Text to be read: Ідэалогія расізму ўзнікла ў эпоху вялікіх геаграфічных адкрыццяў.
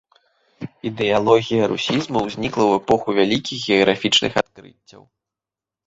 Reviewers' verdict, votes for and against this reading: rejected, 1, 2